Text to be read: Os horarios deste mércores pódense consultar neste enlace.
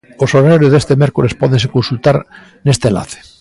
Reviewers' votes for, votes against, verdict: 2, 0, accepted